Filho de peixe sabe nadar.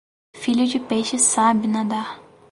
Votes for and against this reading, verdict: 4, 0, accepted